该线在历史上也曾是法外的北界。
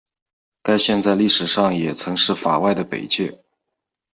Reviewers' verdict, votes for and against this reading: accepted, 2, 0